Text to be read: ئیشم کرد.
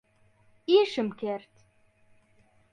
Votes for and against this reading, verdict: 2, 0, accepted